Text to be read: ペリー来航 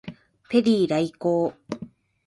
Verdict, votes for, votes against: rejected, 1, 2